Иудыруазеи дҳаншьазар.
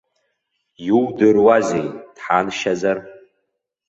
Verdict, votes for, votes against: accepted, 2, 0